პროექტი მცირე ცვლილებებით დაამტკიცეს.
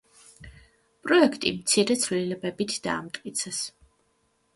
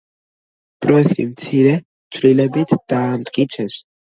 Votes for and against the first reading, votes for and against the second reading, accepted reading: 2, 0, 1, 2, first